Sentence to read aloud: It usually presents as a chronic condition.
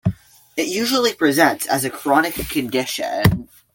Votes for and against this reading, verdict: 2, 0, accepted